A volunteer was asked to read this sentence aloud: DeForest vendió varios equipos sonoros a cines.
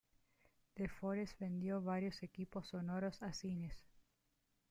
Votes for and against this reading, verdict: 1, 2, rejected